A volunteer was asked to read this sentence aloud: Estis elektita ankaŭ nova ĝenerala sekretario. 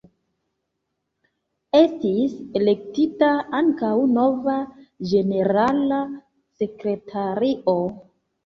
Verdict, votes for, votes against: accepted, 2, 1